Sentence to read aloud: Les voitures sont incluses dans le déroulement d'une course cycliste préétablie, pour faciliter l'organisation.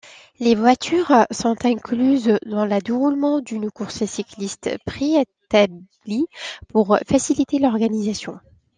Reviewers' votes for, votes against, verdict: 2, 1, accepted